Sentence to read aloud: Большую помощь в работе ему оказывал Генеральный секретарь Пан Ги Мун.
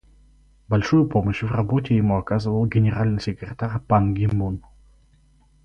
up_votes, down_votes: 2, 4